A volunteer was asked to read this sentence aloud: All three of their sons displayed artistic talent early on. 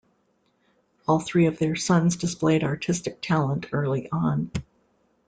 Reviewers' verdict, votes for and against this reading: accepted, 2, 0